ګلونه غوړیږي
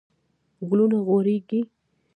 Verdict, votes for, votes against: rejected, 0, 2